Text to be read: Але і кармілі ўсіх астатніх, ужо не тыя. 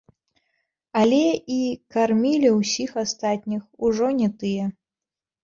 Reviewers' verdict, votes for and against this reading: rejected, 1, 2